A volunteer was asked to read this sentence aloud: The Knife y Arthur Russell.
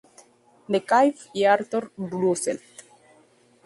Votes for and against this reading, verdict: 0, 2, rejected